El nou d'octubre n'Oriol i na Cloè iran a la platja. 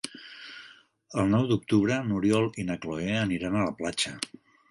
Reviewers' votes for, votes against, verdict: 0, 3, rejected